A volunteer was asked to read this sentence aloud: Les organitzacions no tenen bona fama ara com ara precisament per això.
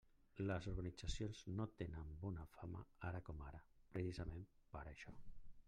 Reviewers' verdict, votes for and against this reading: rejected, 0, 2